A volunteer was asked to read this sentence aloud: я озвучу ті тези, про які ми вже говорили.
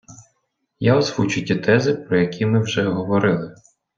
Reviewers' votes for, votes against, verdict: 1, 2, rejected